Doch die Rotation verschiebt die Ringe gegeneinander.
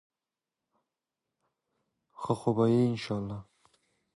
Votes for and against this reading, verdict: 0, 2, rejected